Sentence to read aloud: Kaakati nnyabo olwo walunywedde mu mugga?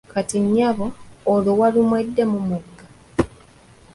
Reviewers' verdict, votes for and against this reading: rejected, 1, 2